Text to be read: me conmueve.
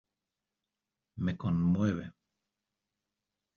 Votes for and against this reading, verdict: 2, 0, accepted